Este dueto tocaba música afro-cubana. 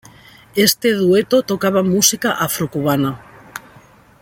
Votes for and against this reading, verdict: 2, 0, accepted